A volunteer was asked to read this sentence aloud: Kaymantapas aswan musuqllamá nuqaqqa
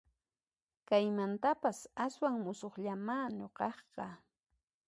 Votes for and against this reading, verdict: 2, 0, accepted